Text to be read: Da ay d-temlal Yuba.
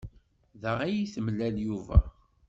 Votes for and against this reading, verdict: 2, 0, accepted